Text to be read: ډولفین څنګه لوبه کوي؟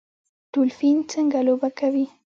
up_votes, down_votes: 1, 2